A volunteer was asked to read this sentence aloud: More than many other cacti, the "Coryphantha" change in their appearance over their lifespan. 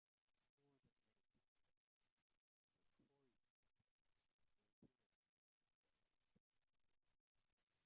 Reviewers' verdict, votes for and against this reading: rejected, 0, 2